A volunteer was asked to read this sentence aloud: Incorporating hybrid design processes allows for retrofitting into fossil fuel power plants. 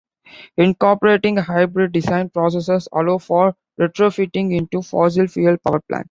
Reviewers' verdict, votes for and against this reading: accepted, 2, 0